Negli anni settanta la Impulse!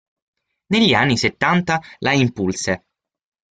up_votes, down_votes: 6, 0